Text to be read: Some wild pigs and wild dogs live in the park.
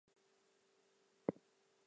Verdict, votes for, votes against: rejected, 0, 2